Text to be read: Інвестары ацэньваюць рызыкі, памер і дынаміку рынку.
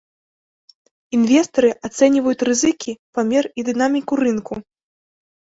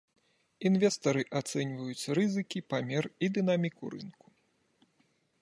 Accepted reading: second